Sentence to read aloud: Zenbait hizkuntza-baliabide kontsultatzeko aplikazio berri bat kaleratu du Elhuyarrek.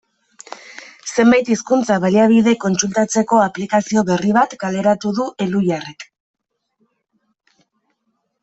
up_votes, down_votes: 2, 0